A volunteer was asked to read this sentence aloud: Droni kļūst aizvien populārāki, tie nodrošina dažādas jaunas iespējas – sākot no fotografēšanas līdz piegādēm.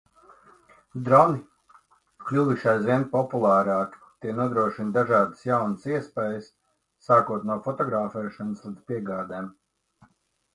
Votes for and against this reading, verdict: 0, 2, rejected